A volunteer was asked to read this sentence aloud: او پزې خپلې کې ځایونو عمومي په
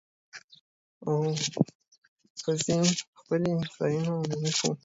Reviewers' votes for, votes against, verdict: 1, 2, rejected